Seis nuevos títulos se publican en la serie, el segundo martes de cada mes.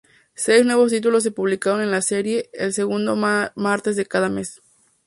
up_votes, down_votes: 2, 4